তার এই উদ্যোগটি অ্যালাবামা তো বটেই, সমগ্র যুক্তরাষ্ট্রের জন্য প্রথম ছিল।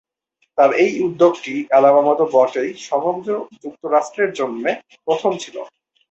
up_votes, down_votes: 2, 0